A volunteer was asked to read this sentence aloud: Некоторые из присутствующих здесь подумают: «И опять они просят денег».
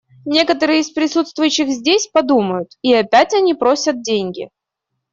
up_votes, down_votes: 1, 2